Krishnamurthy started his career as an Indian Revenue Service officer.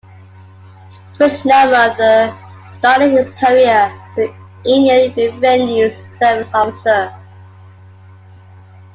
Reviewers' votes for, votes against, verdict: 0, 2, rejected